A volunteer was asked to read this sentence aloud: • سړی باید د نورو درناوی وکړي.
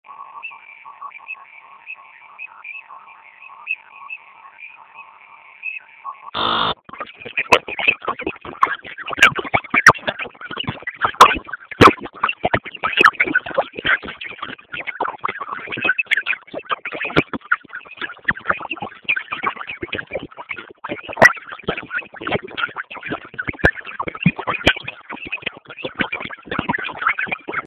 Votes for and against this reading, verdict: 0, 2, rejected